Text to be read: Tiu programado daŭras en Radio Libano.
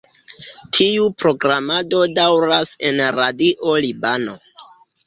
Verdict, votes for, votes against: rejected, 1, 2